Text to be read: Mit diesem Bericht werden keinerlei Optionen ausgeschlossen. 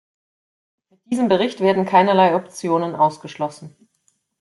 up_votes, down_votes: 0, 2